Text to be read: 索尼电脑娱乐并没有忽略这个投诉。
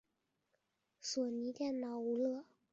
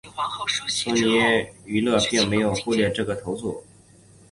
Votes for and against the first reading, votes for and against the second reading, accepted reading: 2, 0, 0, 2, first